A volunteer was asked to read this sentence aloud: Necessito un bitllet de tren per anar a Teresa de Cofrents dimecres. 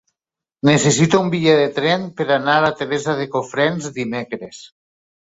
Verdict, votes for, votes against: rejected, 1, 2